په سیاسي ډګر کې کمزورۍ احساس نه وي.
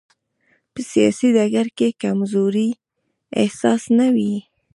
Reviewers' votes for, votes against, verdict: 1, 2, rejected